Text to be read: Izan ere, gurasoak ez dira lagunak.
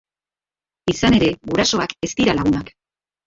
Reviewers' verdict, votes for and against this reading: accepted, 2, 1